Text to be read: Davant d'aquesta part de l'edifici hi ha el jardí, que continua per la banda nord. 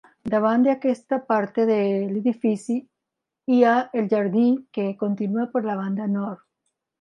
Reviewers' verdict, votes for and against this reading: accepted, 3, 1